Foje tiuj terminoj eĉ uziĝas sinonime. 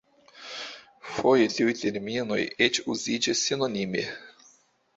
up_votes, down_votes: 2, 0